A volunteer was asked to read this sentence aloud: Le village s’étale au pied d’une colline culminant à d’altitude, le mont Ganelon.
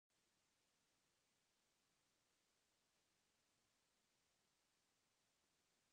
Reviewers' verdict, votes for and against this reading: rejected, 0, 2